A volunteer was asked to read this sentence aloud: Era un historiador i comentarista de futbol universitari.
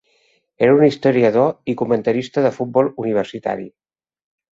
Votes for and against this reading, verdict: 3, 0, accepted